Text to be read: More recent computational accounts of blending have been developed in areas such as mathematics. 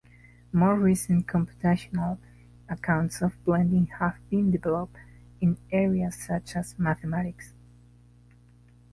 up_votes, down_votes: 1, 2